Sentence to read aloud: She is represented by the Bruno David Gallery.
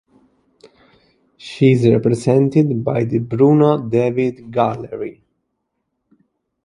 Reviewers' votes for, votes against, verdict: 1, 2, rejected